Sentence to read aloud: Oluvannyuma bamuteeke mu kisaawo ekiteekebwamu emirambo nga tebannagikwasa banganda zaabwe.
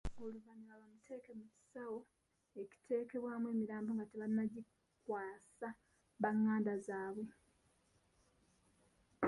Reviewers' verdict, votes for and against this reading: rejected, 1, 2